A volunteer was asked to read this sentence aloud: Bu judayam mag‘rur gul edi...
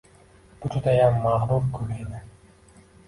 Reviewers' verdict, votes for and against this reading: rejected, 1, 2